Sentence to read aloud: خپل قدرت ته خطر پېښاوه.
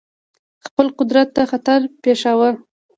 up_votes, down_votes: 2, 1